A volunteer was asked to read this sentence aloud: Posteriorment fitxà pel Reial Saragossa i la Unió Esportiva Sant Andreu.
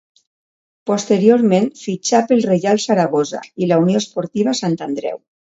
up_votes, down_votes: 2, 0